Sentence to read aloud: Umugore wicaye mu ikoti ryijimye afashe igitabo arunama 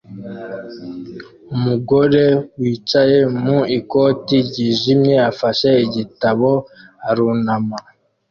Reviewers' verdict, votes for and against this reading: accepted, 2, 0